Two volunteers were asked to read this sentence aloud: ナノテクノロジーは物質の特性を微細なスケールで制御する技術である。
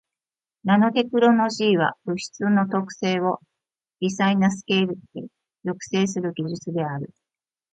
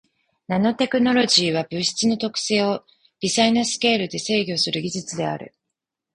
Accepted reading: second